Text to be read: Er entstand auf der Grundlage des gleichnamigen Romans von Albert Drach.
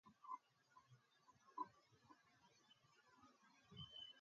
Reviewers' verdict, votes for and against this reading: rejected, 0, 2